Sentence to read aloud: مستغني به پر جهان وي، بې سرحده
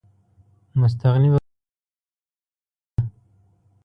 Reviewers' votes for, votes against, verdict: 0, 2, rejected